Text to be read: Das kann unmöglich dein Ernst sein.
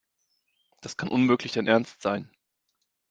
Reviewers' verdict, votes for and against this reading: accepted, 2, 0